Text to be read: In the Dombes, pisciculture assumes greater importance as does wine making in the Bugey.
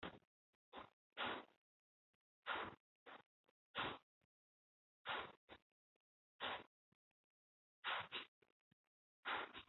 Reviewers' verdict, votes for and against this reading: rejected, 1, 2